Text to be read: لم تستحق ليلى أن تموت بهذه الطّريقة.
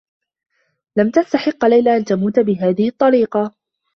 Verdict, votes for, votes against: accepted, 2, 1